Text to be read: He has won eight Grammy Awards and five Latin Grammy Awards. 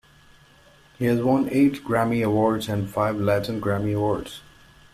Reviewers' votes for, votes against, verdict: 2, 1, accepted